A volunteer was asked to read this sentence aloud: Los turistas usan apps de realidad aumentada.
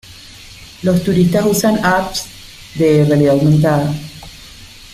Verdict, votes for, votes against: accepted, 2, 0